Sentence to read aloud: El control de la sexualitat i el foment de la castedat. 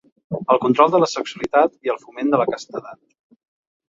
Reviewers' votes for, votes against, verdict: 2, 0, accepted